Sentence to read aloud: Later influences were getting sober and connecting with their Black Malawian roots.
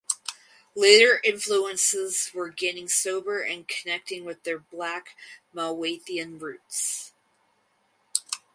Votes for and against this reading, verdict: 0, 2, rejected